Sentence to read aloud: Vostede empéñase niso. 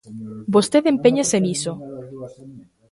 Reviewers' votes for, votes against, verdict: 0, 2, rejected